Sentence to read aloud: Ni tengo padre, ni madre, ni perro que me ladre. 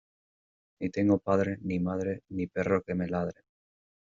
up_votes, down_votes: 2, 0